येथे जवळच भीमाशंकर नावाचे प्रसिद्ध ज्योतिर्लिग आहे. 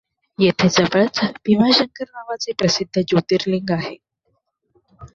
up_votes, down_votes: 1, 2